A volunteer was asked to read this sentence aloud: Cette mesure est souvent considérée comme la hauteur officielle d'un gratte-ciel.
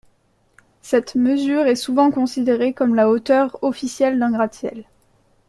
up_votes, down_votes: 2, 0